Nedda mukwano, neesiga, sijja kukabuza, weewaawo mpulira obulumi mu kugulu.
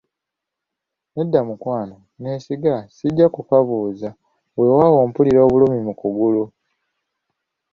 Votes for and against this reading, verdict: 3, 0, accepted